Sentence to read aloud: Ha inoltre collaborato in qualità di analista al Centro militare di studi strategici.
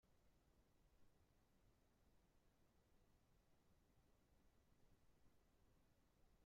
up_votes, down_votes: 0, 2